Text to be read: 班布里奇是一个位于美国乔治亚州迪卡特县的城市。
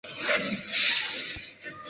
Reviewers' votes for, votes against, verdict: 0, 2, rejected